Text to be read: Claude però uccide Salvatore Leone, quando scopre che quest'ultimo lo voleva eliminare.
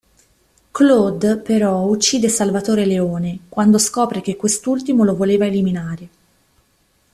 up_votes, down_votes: 2, 0